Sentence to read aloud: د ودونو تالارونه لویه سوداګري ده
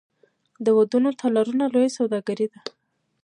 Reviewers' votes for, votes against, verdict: 0, 2, rejected